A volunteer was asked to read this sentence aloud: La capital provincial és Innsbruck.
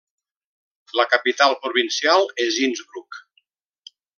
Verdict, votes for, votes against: accepted, 2, 0